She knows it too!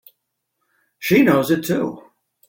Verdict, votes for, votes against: accepted, 2, 0